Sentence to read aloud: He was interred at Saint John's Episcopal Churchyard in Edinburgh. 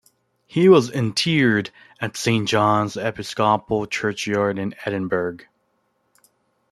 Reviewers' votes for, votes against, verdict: 2, 1, accepted